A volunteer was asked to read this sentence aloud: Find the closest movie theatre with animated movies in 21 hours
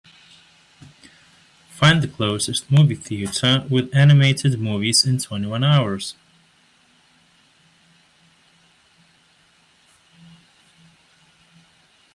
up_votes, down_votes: 0, 2